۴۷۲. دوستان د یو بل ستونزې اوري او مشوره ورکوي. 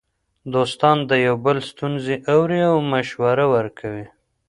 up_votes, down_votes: 0, 2